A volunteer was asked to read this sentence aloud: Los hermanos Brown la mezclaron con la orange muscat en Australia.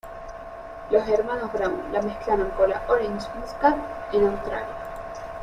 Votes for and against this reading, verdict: 1, 2, rejected